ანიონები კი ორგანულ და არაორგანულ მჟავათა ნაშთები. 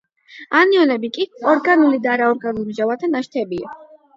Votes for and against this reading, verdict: 8, 0, accepted